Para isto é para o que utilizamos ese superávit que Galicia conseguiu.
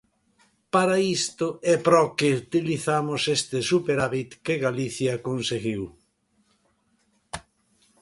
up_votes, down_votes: 1, 2